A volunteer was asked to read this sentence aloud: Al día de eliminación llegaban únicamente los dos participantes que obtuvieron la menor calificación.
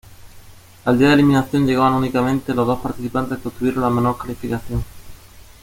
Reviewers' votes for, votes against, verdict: 2, 0, accepted